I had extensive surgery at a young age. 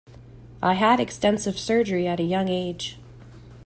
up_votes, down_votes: 2, 0